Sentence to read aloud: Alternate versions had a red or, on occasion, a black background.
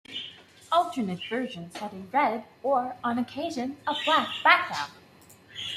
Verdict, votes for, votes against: accepted, 2, 0